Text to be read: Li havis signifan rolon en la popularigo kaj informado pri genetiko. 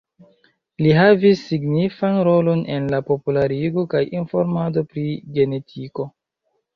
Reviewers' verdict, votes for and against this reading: rejected, 0, 2